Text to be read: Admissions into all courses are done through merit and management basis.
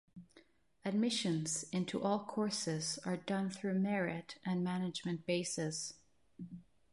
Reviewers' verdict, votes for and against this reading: rejected, 1, 2